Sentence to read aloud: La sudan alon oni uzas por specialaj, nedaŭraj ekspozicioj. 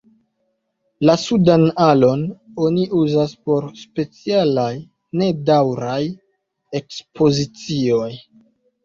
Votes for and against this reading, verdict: 2, 0, accepted